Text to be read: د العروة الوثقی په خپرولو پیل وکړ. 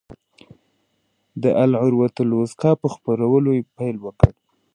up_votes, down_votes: 2, 0